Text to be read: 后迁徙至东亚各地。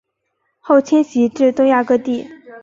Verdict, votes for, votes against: accepted, 3, 0